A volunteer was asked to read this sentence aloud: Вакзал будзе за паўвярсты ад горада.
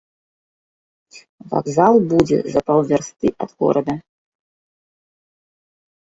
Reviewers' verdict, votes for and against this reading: accepted, 2, 0